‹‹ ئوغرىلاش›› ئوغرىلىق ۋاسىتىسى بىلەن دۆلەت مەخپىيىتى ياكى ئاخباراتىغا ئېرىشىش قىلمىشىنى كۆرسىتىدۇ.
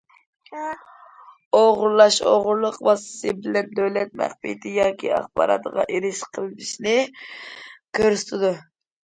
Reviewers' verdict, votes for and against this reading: accepted, 2, 0